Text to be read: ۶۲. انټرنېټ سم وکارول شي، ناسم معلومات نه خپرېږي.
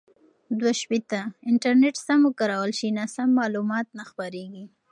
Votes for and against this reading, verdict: 0, 2, rejected